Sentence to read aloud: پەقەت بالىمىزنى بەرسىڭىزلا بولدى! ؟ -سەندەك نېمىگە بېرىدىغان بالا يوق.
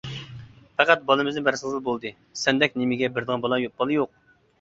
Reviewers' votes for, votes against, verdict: 0, 2, rejected